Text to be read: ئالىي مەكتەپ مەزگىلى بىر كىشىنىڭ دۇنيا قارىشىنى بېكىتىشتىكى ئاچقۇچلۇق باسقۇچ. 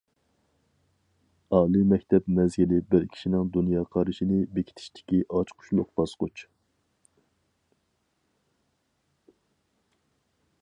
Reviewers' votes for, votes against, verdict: 4, 0, accepted